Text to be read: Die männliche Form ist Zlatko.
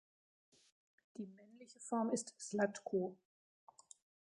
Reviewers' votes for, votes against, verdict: 1, 2, rejected